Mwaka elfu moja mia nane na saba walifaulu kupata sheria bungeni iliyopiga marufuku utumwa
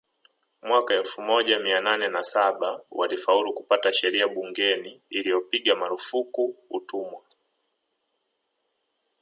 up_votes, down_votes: 2, 0